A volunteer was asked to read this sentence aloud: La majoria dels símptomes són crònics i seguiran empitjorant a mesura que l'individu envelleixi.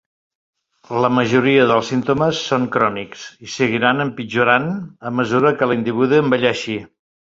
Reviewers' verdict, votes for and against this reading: accepted, 2, 1